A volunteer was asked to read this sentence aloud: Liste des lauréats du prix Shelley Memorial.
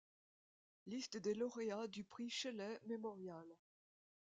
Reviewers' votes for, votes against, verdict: 2, 0, accepted